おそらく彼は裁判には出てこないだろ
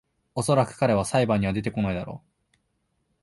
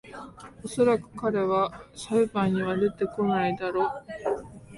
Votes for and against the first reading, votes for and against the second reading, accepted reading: 2, 0, 1, 2, first